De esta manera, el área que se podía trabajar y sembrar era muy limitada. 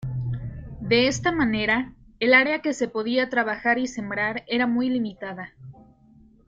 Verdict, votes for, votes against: accepted, 2, 0